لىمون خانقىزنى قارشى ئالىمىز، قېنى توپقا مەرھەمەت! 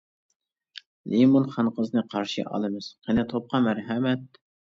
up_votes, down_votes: 2, 0